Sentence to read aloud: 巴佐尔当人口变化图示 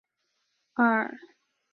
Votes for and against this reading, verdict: 0, 2, rejected